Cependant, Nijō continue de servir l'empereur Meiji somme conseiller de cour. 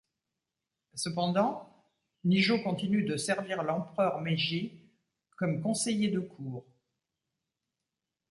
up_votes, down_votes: 0, 2